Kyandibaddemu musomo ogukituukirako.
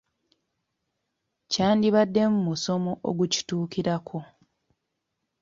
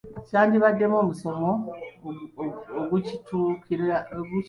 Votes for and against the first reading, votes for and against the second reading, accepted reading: 2, 0, 0, 2, first